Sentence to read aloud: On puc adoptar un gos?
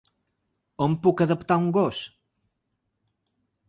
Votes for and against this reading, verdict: 1, 2, rejected